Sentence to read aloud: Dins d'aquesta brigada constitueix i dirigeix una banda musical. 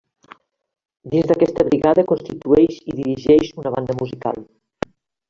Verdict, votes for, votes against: rejected, 0, 2